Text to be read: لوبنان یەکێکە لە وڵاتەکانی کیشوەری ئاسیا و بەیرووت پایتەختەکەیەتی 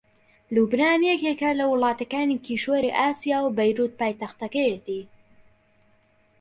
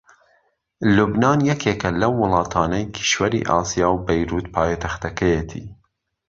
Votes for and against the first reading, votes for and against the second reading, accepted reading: 2, 0, 0, 2, first